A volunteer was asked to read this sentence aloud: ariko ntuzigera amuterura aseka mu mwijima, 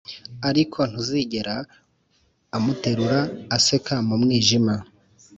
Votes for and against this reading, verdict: 2, 0, accepted